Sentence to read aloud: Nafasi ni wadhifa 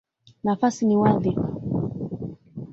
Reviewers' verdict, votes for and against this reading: rejected, 1, 2